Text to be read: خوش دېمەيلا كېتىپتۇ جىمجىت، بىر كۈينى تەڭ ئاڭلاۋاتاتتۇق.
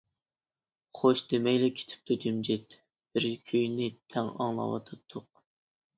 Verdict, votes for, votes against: rejected, 1, 2